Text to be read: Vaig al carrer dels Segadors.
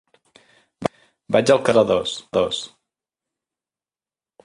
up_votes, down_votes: 0, 2